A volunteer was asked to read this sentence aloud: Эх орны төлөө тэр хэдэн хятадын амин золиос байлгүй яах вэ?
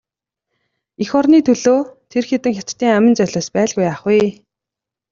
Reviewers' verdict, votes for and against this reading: rejected, 1, 2